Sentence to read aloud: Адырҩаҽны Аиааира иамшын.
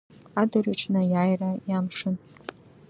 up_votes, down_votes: 2, 0